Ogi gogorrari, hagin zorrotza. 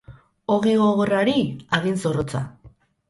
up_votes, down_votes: 10, 0